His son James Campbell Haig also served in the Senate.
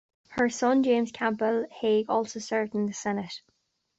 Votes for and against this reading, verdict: 1, 2, rejected